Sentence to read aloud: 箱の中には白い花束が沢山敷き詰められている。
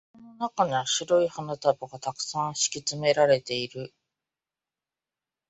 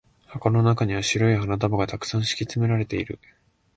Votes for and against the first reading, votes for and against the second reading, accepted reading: 4, 5, 2, 0, second